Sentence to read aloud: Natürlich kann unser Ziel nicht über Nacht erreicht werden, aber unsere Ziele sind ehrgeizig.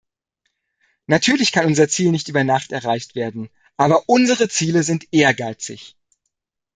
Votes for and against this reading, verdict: 2, 0, accepted